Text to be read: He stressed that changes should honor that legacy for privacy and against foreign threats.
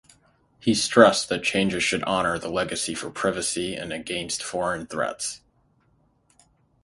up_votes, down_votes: 0, 3